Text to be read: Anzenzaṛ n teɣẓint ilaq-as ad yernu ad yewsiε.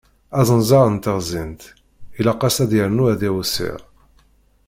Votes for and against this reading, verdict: 0, 2, rejected